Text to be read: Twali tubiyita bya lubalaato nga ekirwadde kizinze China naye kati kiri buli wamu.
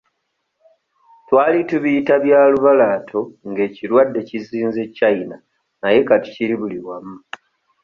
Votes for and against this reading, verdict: 0, 2, rejected